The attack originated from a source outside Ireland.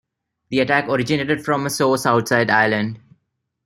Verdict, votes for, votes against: rejected, 1, 2